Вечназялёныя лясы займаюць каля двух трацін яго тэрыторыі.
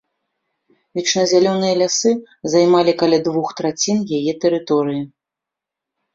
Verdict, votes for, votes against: rejected, 0, 2